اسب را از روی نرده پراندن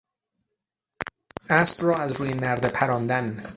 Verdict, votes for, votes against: rejected, 0, 3